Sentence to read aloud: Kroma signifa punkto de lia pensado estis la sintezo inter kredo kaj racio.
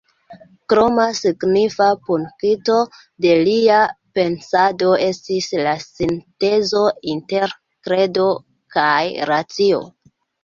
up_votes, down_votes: 1, 2